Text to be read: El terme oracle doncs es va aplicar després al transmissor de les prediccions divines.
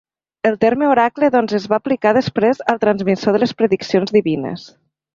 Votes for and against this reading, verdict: 2, 0, accepted